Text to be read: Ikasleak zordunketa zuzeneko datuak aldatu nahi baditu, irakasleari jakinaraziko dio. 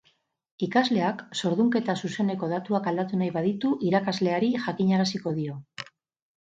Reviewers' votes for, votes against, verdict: 2, 2, rejected